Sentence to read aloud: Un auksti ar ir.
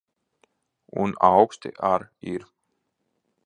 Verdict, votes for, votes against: accepted, 2, 0